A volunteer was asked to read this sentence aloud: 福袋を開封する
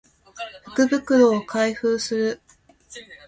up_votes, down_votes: 2, 1